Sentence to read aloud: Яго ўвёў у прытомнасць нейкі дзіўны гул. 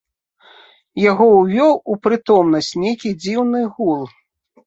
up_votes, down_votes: 2, 0